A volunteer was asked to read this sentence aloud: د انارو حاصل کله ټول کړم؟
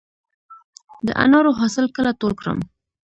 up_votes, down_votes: 1, 2